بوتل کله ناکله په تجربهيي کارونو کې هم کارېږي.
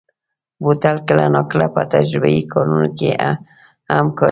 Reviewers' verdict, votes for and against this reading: rejected, 0, 2